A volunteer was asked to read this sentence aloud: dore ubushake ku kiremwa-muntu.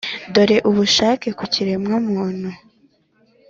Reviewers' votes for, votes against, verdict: 2, 0, accepted